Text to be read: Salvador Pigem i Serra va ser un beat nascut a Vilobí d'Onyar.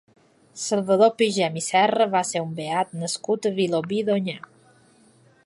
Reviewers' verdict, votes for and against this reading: accepted, 3, 0